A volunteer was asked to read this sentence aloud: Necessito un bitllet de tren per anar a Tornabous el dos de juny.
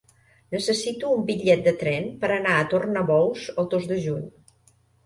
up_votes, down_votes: 3, 0